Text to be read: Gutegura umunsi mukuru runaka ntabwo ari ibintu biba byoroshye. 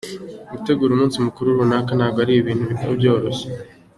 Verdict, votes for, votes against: accepted, 2, 0